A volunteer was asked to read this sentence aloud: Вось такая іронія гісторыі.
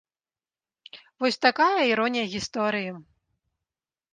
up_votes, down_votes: 2, 0